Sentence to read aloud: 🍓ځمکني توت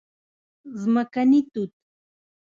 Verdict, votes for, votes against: rejected, 0, 2